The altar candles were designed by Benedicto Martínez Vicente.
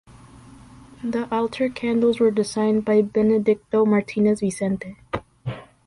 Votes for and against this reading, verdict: 2, 1, accepted